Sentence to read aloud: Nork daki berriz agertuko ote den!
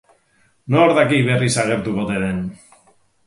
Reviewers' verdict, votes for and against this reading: rejected, 0, 2